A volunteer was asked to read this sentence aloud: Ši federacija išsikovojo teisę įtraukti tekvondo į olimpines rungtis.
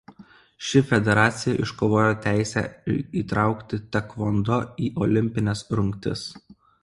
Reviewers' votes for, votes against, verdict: 1, 2, rejected